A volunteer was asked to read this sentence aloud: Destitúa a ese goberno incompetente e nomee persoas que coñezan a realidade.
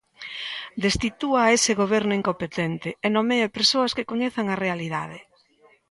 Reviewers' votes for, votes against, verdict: 2, 0, accepted